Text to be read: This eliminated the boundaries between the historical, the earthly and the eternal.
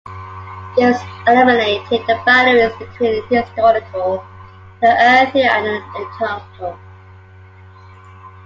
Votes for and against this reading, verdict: 0, 2, rejected